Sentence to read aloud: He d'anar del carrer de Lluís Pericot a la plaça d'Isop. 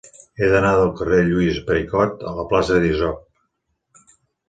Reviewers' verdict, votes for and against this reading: accepted, 2, 0